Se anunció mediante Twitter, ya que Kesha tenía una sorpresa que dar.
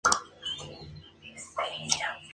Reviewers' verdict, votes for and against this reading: rejected, 0, 4